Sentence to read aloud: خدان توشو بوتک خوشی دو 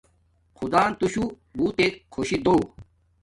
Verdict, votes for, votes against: accepted, 2, 0